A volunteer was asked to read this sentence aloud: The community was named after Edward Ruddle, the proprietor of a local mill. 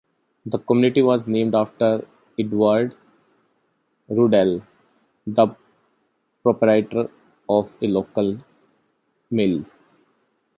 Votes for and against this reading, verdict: 3, 1, accepted